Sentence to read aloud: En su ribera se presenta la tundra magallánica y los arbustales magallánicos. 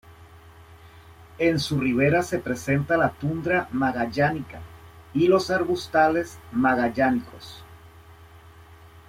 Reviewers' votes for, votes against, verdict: 2, 0, accepted